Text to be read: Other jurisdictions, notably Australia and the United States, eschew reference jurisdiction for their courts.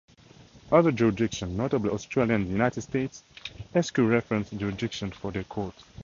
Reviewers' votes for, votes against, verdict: 0, 2, rejected